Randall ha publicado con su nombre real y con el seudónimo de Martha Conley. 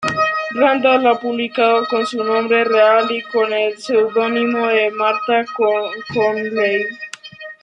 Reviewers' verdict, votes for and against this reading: rejected, 0, 2